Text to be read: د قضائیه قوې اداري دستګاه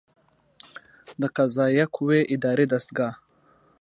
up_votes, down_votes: 2, 0